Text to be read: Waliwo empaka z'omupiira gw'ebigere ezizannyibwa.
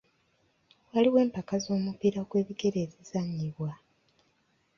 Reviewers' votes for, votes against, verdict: 2, 0, accepted